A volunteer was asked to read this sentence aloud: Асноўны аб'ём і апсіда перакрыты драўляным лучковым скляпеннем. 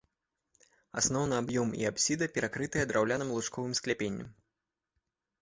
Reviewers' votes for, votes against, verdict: 2, 1, accepted